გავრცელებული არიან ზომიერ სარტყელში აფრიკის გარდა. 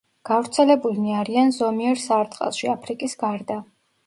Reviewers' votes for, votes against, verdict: 0, 2, rejected